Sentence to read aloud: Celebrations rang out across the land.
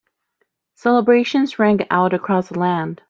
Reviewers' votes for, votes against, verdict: 2, 0, accepted